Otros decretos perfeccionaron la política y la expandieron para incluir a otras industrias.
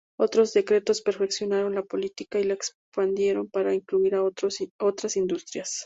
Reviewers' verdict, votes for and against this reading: accepted, 2, 0